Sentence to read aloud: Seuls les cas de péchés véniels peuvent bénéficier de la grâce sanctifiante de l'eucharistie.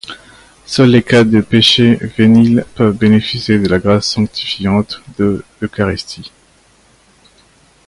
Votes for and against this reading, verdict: 1, 2, rejected